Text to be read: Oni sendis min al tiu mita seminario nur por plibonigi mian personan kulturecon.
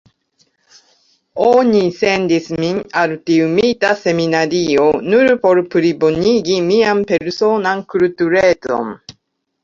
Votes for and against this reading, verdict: 2, 1, accepted